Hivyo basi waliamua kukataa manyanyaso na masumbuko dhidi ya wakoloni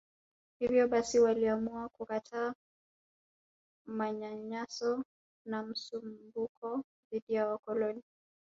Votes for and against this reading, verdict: 0, 2, rejected